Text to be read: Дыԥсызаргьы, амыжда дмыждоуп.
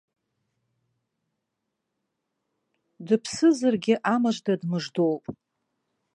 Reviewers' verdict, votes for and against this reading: rejected, 1, 2